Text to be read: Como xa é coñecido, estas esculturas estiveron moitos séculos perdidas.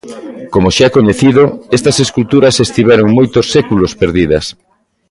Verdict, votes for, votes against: accepted, 2, 0